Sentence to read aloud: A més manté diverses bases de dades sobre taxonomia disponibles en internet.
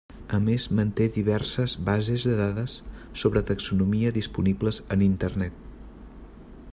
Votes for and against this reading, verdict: 3, 0, accepted